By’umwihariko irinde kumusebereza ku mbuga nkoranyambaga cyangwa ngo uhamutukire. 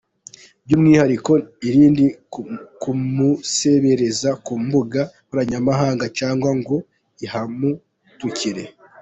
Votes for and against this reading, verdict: 2, 1, accepted